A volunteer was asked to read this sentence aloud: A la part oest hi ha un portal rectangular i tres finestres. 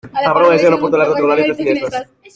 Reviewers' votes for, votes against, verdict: 0, 2, rejected